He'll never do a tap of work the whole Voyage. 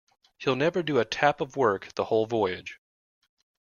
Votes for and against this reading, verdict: 2, 0, accepted